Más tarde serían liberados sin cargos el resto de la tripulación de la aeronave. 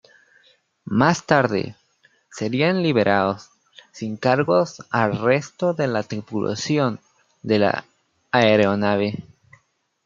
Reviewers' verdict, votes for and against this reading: rejected, 0, 2